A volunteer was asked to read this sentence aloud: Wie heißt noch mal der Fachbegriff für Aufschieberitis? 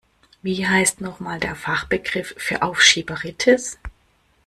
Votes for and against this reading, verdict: 2, 0, accepted